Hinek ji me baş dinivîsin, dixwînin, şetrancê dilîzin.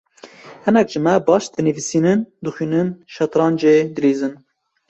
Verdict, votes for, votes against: accepted, 2, 1